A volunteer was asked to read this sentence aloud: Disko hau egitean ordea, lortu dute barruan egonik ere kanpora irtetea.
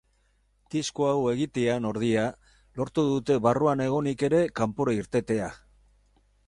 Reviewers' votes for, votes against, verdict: 2, 2, rejected